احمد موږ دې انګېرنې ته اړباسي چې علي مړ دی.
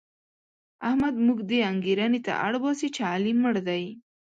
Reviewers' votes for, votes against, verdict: 2, 0, accepted